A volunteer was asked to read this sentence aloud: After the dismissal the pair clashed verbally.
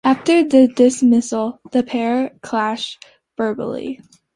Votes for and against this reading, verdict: 2, 0, accepted